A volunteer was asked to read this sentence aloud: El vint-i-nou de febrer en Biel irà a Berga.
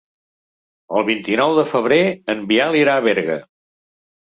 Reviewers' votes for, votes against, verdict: 3, 0, accepted